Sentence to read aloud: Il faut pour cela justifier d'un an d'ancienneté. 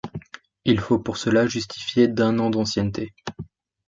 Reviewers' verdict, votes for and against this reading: accepted, 2, 0